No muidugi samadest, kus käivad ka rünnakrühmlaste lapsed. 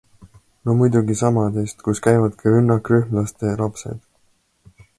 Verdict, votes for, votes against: accepted, 2, 0